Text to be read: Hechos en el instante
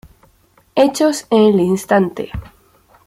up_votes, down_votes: 2, 0